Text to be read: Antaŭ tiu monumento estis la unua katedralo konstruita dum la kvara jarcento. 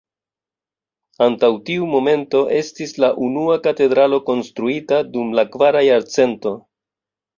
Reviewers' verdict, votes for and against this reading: rejected, 1, 2